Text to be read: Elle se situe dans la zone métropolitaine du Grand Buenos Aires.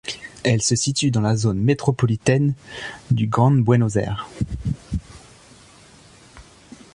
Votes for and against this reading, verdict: 1, 2, rejected